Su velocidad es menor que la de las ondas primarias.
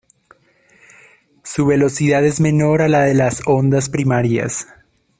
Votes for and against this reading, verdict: 1, 2, rejected